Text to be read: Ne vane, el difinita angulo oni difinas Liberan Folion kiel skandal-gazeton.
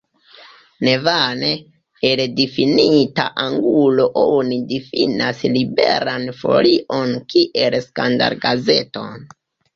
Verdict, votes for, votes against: rejected, 1, 2